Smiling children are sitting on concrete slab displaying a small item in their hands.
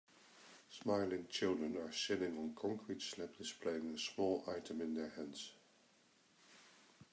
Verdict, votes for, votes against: rejected, 1, 2